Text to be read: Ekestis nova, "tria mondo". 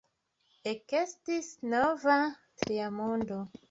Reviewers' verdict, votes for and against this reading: accepted, 2, 1